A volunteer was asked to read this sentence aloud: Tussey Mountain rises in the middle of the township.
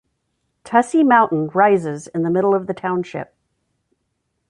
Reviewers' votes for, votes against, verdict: 2, 0, accepted